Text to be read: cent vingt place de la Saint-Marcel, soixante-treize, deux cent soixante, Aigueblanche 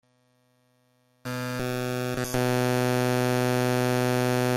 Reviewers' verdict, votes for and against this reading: rejected, 0, 2